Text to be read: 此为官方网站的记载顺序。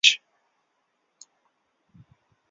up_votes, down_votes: 1, 5